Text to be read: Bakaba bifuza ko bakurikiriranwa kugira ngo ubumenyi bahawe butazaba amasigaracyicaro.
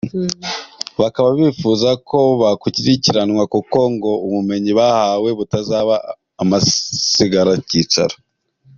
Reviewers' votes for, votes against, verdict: 1, 2, rejected